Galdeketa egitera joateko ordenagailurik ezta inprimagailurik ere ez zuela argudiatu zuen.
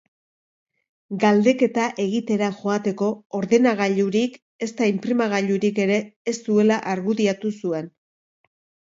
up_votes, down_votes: 2, 0